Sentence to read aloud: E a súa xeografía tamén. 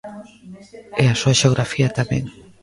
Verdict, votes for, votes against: accepted, 2, 0